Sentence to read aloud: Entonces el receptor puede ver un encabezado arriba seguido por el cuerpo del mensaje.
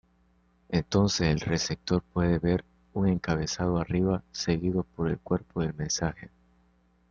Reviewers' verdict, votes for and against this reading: accepted, 2, 0